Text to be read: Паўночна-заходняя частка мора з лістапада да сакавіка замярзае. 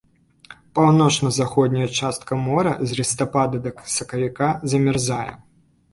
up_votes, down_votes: 1, 2